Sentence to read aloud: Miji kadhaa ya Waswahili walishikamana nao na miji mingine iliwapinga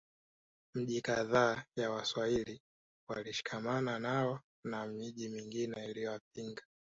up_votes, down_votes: 3, 0